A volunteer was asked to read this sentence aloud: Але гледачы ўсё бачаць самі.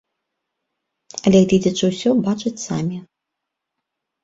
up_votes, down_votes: 1, 2